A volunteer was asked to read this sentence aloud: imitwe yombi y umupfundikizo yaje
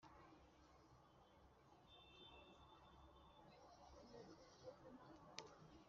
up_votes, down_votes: 0, 2